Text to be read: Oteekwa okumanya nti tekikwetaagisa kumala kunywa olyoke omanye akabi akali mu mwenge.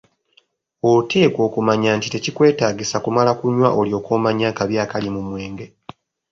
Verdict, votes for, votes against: accepted, 3, 0